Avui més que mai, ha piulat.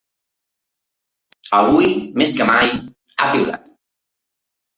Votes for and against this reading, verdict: 3, 1, accepted